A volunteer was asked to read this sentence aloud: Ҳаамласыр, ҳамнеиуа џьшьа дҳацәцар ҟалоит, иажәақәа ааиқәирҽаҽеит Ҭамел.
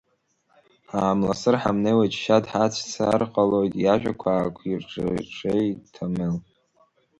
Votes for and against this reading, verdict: 0, 2, rejected